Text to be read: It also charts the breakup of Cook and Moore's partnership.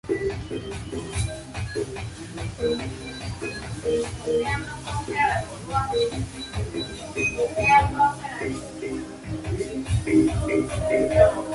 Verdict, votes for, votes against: rejected, 0, 2